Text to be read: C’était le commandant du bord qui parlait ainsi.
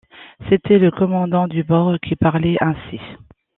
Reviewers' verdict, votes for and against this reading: accepted, 2, 0